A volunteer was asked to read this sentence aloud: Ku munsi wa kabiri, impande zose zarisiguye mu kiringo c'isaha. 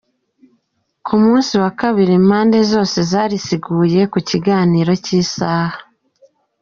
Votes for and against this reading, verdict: 1, 2, rejected